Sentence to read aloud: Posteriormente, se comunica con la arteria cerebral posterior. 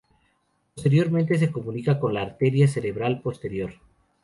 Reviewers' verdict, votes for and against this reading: rejected, 0, 2